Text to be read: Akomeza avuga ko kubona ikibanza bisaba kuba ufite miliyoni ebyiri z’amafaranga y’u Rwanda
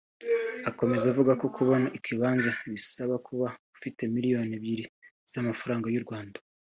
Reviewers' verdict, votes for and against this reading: accepted, 2, 1